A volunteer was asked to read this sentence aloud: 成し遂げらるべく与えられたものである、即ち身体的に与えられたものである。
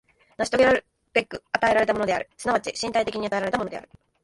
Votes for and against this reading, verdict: 1, 2, rejected